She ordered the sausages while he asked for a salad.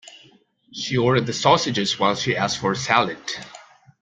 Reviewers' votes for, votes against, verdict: 0, 2, rejected